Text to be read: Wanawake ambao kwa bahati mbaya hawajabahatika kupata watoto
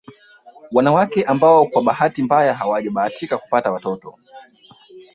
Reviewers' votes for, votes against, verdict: 1, 2, rejected